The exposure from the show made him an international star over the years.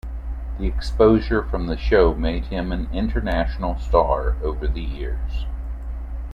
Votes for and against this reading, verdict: 2, 0, accepted